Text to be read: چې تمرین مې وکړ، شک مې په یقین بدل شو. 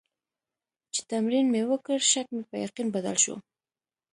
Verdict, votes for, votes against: accepted, 2, 0